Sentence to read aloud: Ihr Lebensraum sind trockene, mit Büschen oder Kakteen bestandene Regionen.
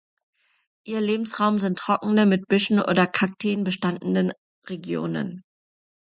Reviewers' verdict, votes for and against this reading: rejected, 1, 2